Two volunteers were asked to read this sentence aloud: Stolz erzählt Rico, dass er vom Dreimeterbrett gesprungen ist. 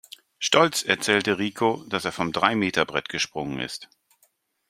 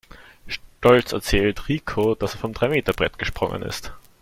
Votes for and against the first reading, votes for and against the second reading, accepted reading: 1, 2, 2, 0, second